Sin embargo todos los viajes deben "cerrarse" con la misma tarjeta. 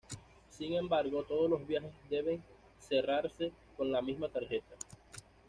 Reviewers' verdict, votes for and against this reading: accepted, 2, 0